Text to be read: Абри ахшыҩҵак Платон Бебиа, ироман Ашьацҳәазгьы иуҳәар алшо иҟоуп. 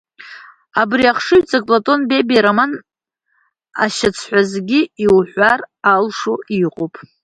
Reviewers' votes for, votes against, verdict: 1, 2, rejected